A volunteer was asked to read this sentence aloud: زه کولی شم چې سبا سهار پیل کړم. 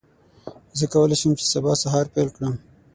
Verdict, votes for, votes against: accepted, 6, 0